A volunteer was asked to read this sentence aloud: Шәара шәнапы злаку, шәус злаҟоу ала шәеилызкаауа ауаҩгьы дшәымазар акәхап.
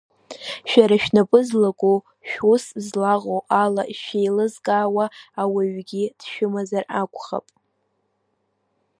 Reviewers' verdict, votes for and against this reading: accepted, 2, 0